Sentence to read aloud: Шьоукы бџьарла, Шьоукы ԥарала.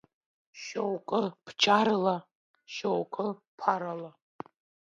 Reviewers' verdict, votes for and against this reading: accepted, 2, 1